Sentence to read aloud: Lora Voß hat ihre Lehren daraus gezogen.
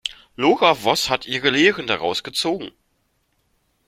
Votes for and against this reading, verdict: 2, 0, accepted